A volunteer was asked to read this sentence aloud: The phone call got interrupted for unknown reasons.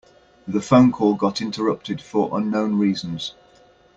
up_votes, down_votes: 2, 0